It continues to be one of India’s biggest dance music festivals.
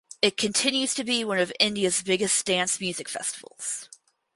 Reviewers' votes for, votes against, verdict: 2, 2, rejected